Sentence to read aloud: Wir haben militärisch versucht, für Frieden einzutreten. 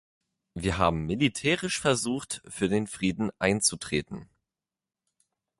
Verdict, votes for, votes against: rejected, 0, 2